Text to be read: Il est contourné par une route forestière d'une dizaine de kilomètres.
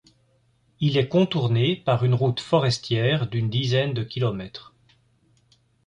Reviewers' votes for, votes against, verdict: 2, 0, accepted